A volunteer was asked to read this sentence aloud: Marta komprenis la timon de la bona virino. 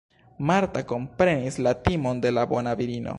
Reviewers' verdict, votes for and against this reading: accepted, 2, 1